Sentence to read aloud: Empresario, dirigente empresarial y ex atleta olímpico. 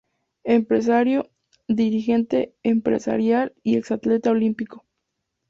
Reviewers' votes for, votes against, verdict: 2, 0, accepted